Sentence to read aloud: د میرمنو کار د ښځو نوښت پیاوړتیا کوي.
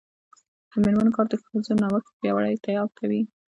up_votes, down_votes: 1, 2